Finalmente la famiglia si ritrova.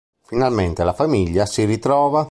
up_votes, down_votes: 2, 0